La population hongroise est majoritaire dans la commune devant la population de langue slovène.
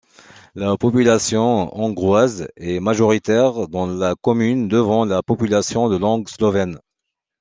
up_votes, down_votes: 2, 0